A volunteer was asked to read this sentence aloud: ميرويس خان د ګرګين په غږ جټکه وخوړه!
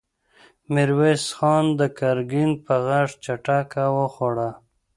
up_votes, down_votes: 1, 2